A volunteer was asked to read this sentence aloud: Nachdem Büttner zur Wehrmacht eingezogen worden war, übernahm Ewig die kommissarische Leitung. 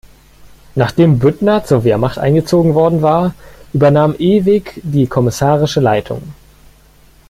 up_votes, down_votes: 2, 0